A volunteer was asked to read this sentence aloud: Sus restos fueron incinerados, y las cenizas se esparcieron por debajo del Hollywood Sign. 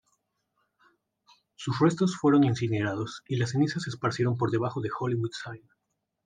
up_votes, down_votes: 2, 1